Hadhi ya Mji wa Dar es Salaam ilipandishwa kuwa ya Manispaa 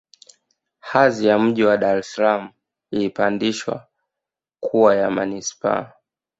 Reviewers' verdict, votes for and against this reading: accepted, 2, 0